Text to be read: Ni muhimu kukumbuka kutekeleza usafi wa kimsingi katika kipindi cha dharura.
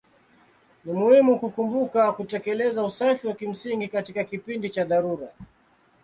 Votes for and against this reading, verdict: 2, 0, accepted